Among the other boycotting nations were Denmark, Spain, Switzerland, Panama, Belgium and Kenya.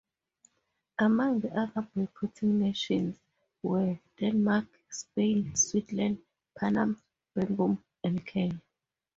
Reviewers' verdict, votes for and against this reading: rejected, 0, 2